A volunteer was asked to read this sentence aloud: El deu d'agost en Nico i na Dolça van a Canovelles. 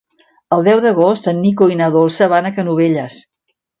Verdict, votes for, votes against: accepted, 2, 0